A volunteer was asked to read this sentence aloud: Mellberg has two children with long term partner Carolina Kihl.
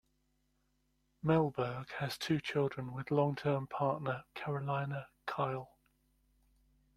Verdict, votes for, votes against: accepted, 2, 0